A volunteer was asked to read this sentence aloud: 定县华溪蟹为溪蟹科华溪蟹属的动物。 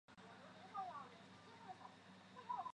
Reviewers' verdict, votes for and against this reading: rejected, 1, 2